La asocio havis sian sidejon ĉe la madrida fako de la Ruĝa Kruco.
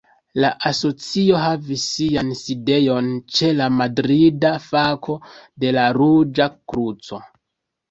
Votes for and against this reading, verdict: 0, 2, rejected